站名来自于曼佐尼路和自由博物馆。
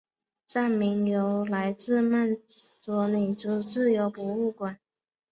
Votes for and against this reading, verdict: 0, 2, rejected